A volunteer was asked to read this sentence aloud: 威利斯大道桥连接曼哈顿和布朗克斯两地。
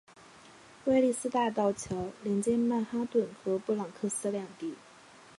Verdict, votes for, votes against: accepted, 3, 0